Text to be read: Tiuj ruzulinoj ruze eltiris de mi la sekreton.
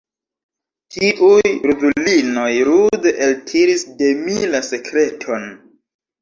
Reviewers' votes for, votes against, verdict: 1, 2, rejected